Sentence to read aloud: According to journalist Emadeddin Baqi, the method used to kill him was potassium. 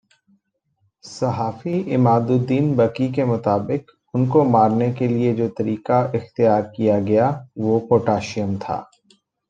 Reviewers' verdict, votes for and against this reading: rejected, 0, 2